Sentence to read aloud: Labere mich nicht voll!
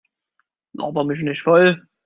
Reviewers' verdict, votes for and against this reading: rejected, 1, 2